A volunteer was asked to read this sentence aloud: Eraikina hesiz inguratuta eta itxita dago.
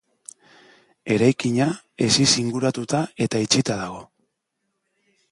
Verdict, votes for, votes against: accepted, 2, 0